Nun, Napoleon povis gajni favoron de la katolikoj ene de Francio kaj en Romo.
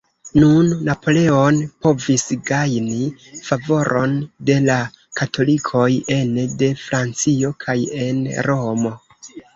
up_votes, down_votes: 0, 2